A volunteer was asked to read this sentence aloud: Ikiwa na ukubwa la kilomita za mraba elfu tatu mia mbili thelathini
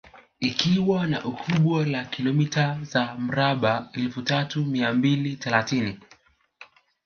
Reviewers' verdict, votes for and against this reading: rejected, 3, 4